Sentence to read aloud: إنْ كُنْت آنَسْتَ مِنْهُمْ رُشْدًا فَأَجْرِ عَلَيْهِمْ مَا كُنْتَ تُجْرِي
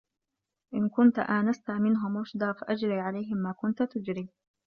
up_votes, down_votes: 2, 0